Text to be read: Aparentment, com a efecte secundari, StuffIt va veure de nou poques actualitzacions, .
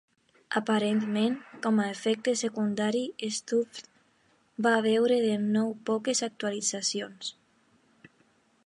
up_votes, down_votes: 2, 0